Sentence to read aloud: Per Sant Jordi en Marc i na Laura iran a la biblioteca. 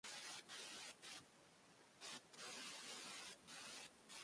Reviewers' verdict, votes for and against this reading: rejected, 0, 2